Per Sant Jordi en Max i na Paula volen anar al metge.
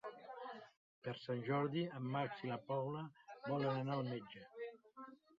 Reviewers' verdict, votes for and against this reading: rejected, 0, 2